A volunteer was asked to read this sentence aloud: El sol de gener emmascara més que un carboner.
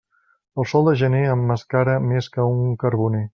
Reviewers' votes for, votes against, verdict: 2, 0, accepted